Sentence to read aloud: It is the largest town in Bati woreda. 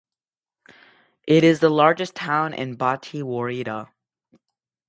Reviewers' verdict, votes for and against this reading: accepted, 2, 0